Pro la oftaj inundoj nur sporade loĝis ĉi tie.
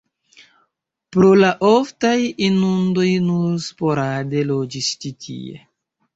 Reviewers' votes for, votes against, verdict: 0, 2, rejected